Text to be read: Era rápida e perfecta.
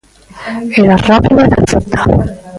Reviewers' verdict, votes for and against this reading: rejected, 0, 2